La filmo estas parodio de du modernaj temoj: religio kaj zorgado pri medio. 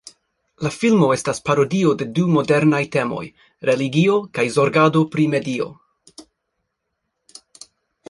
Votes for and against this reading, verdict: 4, 0, accepted